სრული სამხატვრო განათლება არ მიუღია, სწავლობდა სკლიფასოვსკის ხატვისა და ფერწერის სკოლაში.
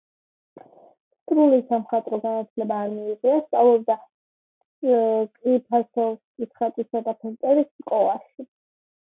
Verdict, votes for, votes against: accepted, 2, 1